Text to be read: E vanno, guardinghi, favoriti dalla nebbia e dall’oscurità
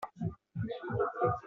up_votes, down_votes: 0, 2